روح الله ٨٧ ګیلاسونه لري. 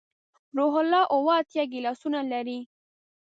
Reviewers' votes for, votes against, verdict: 0, 2, rejected